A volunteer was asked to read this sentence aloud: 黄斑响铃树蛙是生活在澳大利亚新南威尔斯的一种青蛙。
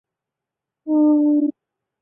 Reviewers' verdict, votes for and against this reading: rejected, 0, 4